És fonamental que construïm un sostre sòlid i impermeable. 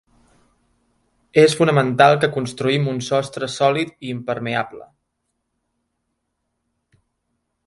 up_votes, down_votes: 4, 0